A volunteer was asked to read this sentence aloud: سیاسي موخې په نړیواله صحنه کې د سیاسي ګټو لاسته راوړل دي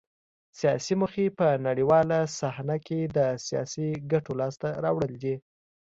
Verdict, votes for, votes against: accepted, 2, 0